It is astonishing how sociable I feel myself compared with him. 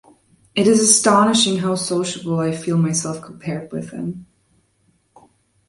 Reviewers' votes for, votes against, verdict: 2, 0, accepted